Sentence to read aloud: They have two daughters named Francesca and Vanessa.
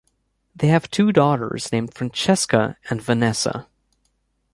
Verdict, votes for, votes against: accepted, 4, 1